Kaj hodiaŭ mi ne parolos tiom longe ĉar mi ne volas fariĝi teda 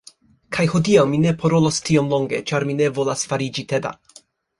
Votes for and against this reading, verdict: 2, 1, accepted